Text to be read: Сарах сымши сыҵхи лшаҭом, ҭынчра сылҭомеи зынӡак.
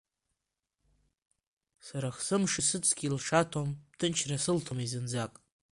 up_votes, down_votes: 2, 0